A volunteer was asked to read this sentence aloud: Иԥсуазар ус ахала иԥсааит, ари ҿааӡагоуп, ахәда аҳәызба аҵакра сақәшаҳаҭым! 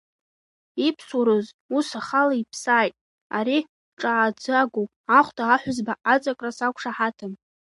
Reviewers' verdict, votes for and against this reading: rejected, 1, 2